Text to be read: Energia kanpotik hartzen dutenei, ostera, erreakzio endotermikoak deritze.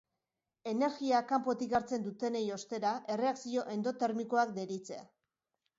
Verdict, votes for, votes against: accepted, 3, 0